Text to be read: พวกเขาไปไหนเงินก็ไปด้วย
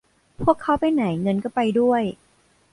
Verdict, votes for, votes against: accepted, 2, 0